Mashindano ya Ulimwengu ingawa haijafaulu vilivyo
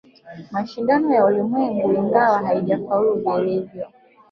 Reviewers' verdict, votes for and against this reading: rejected, 1, 2